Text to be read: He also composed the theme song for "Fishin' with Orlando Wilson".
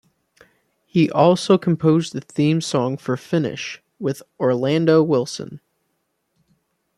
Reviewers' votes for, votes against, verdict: 0, 2, rejected